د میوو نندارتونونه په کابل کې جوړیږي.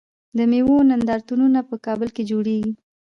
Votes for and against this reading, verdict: 0, 2, rejected